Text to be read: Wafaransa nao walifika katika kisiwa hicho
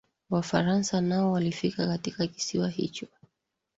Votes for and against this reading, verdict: 2, 0, accepted